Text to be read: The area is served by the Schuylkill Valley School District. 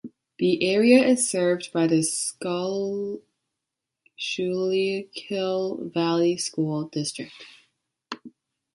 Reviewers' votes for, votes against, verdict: 0, 2, rejected